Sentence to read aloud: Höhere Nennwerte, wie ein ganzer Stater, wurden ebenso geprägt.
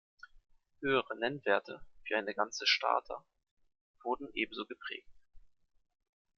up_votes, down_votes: 0, 2